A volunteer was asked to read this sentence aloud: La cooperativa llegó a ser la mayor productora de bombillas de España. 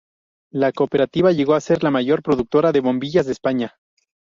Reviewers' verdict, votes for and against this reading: accepted, 2, 0